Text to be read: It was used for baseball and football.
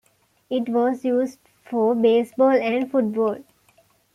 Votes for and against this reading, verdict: 2, 0, accepted